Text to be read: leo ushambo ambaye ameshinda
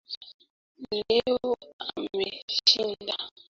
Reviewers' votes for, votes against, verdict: 0, 2, rejected